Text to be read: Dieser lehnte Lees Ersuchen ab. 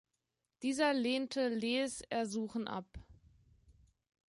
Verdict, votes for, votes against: rejected, 1, 2